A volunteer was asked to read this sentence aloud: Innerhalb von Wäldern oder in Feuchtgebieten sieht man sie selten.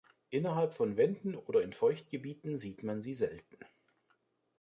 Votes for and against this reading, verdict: 2, 1, accepted